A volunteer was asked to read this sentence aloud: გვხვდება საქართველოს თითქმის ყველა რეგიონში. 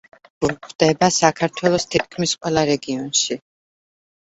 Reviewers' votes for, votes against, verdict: 1, 2, rejected